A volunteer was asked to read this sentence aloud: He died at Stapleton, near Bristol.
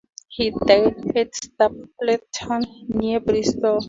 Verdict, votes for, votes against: rejected, 0, 2